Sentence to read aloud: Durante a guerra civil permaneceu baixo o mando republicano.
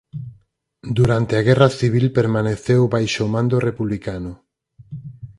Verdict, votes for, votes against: accepted, 4, 0